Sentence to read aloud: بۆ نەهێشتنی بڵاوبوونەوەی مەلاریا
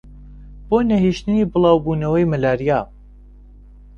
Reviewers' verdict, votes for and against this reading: accepted, 2, 0